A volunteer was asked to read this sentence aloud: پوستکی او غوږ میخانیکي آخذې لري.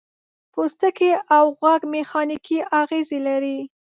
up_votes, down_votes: 1, 2